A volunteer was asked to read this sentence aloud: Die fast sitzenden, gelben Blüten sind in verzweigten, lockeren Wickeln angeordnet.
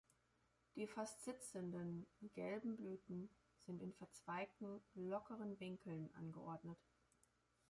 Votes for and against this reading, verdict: 1, 2, rejected